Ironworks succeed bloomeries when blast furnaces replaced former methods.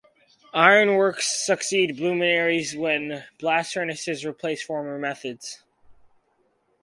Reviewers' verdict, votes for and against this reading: rejected, 2, 2